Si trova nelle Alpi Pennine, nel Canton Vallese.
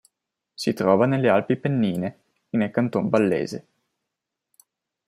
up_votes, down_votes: 2, 0